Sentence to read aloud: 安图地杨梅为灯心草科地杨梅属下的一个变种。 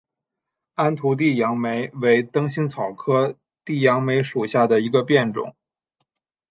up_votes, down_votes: 2, 1